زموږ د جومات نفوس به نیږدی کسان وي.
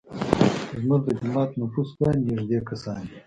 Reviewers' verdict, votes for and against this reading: rejected, 0, 2